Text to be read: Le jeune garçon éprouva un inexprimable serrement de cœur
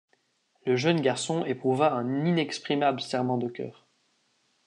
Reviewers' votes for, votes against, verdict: 2, 0, accepted